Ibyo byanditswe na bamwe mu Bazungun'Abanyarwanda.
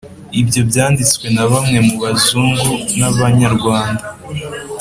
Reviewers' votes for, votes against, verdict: 2, 0, accepted